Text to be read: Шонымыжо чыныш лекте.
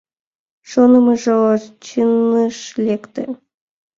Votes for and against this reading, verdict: 2, 1, accepted